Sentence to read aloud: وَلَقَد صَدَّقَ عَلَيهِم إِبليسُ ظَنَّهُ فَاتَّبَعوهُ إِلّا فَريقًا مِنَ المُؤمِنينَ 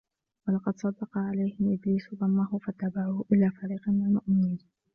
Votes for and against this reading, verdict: 0, 2, rejected